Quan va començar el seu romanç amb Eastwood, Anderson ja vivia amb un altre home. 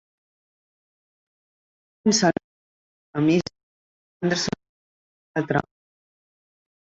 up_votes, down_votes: 0, 2